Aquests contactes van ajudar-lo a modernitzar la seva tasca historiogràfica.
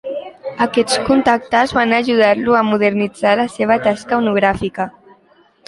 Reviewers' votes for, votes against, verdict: 0, 2, rejected